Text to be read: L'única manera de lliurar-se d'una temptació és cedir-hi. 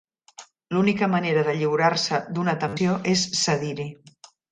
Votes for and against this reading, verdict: 0, 2, rejected